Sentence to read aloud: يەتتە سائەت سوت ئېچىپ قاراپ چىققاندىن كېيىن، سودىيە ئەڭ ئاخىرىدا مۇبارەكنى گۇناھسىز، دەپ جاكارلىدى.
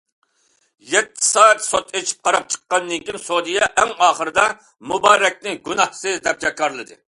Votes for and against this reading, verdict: 2, 0, accepted